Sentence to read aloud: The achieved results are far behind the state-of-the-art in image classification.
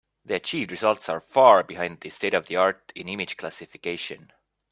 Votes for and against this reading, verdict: 2, 1, accepted